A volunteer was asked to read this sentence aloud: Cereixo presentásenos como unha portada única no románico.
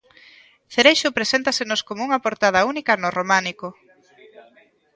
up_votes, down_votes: 2, 0